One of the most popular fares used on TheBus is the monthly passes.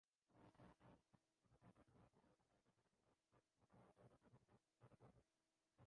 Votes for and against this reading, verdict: 0, 2, rejected